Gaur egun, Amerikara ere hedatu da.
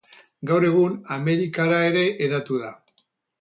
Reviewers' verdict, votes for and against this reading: accepted, 4, 0